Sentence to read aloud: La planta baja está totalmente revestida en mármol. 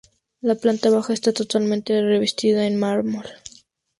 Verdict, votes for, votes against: accepted, 2, 0